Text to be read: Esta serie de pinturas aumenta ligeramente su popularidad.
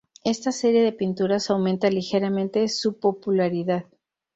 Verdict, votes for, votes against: accepted, 4, 0